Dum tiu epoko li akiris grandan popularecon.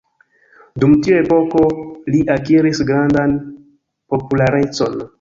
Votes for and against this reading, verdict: 2, 1, accepted